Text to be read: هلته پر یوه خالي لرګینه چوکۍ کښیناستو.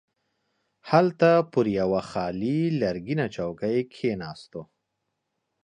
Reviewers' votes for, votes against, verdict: 2, 0, accepted